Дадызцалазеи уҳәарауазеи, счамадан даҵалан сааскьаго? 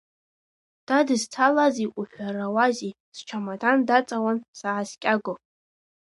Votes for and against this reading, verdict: 1, 2, rejected